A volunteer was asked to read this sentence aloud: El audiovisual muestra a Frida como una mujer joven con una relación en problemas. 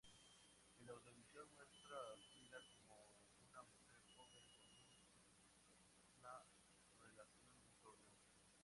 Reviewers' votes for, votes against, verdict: 0, 4, rejected